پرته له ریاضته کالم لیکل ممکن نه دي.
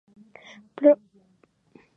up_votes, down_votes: 0, 2